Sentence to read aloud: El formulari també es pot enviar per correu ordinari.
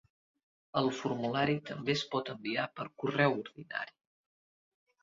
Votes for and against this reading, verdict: 2, 0, accepted